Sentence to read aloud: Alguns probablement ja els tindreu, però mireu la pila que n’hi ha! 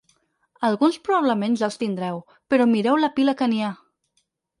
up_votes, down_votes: 0, 4